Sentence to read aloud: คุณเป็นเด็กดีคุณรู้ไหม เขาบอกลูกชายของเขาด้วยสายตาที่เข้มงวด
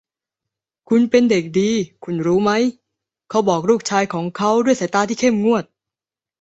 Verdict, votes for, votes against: accepted, 2, 0